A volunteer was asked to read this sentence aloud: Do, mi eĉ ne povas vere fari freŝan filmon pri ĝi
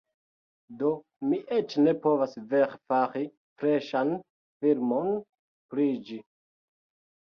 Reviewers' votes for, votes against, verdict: 1, 2, rejected